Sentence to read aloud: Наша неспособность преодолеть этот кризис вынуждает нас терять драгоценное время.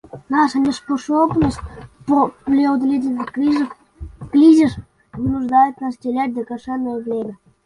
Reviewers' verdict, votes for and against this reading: rejected, 0, 2